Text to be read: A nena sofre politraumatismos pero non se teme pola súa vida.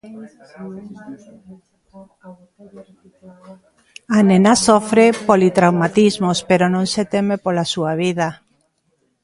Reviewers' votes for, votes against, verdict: 1, 2, rejected